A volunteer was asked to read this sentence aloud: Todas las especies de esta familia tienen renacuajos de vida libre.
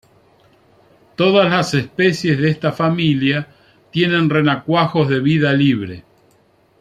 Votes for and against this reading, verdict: 2, 0, accepted